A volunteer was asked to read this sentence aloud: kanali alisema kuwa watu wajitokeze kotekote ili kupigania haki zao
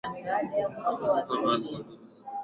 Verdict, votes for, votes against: rejected, 1, 10